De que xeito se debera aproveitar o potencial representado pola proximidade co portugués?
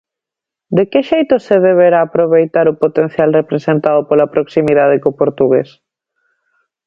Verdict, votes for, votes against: rejected, 0, 2